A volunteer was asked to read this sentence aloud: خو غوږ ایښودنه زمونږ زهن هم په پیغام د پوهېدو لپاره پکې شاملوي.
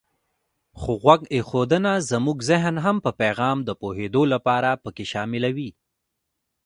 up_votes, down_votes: 2, 1